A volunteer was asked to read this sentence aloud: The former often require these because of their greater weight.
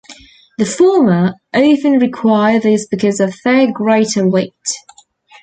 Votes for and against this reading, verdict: 2, 0, accepted